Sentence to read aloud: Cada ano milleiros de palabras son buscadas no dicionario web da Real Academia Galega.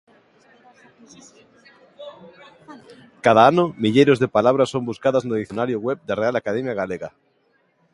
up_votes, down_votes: 2, 0